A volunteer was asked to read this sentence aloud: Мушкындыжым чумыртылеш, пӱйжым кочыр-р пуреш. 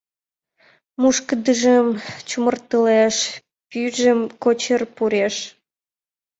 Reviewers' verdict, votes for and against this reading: accepted, 2, 1